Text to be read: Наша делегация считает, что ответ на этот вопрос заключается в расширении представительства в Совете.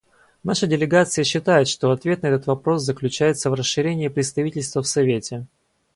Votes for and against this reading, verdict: 2, 0, accepted